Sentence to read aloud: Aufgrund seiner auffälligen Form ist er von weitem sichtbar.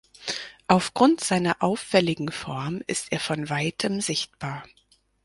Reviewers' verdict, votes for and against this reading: accepted, 4, 0